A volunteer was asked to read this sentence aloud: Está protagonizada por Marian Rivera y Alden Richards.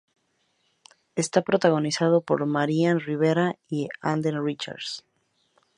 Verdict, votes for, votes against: accepted, 2, 0